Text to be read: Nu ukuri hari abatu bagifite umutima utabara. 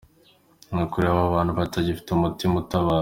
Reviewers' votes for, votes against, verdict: 2, 0, accepted